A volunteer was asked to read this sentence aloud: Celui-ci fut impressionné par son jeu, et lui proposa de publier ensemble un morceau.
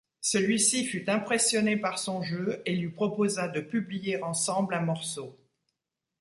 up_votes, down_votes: 2, 0